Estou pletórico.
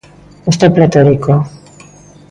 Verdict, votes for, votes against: accepted, 2, 0